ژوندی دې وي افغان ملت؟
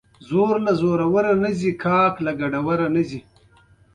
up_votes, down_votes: 2, 0